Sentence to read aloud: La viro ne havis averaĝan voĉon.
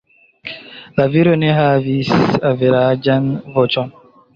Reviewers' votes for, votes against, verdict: 2, 0, accepted